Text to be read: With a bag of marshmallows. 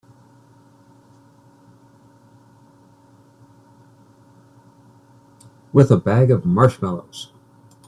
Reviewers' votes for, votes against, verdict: 2, 0, accepted